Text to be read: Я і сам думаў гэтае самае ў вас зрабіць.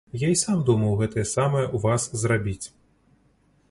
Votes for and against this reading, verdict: 2, 0, accepted